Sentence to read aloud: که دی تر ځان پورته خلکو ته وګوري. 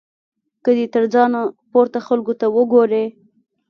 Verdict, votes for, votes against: rejected, 1, 2